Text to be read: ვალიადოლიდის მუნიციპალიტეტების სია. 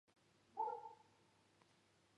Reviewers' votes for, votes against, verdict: 1, 2, rejected